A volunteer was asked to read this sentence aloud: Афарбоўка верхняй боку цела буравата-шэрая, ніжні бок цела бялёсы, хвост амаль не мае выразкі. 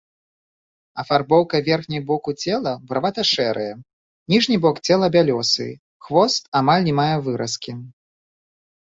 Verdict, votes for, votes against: accepted, 2, 1